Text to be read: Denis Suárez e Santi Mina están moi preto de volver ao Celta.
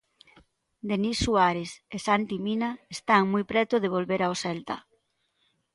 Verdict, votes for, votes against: accepted, 2, 0